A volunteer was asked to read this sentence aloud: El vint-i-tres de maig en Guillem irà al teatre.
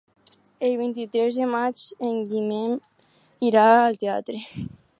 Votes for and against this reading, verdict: 0, 4, rejected